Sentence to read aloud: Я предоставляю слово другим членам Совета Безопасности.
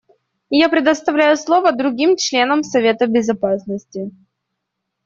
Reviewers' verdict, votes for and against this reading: accepted, 2, 0